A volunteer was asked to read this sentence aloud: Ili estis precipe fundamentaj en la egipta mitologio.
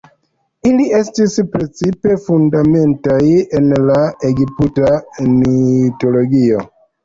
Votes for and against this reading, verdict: 4, 0, accepted